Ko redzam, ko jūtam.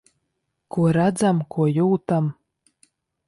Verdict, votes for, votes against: accepted, 2, 0